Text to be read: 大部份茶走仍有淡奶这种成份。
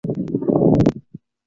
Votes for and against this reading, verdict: 0, 2, rejected